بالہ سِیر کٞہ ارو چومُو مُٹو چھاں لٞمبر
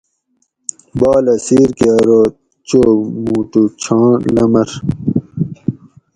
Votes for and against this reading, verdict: 2, 4, rejected